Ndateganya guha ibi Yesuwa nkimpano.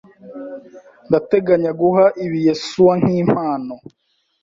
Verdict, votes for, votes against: accepted, 2, 0